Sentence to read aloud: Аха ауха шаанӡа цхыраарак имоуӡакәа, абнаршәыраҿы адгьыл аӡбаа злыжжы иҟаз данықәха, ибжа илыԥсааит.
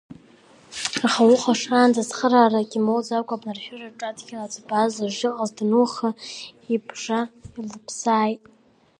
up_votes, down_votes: 1, 2